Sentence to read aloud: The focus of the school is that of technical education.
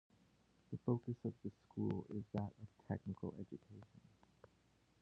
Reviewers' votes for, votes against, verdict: 2, 1, accepted